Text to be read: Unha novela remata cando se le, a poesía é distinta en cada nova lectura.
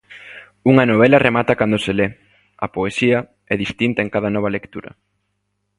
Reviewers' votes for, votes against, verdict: 2, 0, accepted